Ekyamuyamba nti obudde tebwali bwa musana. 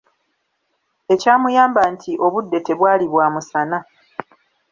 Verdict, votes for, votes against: accepted, 2, 0